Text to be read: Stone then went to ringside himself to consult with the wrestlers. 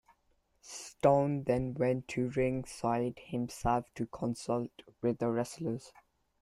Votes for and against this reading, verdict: 2, 1, accepted